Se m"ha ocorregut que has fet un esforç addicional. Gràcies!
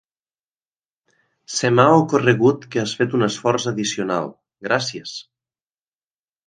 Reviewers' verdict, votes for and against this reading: accepted, 2, 0